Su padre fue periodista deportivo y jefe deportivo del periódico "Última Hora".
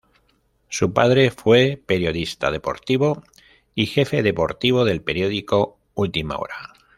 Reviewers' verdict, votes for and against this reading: accepted, 2, 0